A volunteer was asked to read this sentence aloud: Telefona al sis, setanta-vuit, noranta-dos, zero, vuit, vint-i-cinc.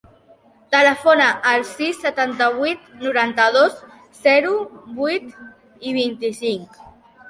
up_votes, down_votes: 0, 2